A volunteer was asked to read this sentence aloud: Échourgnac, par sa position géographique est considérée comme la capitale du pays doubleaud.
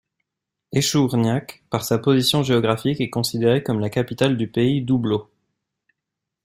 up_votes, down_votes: 2, 0